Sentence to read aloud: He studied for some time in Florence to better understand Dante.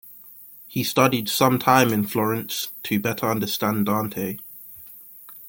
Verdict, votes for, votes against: rejected, 1, 2